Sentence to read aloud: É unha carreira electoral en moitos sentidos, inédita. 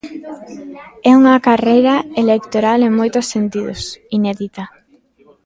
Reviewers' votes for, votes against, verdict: 2, 0, accepted